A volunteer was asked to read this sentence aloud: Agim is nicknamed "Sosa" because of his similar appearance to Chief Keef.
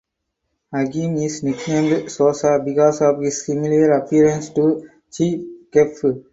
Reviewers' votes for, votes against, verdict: 2, 2, rejected